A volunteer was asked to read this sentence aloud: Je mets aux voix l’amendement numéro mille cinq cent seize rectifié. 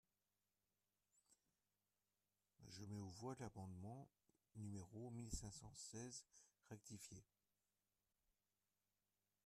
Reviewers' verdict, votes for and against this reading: rejected, 0, 2